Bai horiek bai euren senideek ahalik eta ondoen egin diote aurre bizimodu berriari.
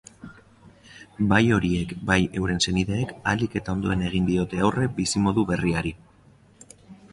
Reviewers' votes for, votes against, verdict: 2, 0, accepted